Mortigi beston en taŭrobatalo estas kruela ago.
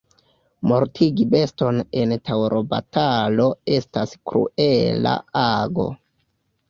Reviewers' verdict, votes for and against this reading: rejected, 1, 2